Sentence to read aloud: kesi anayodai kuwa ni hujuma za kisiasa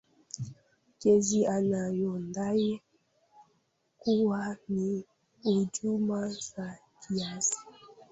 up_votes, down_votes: 0, 2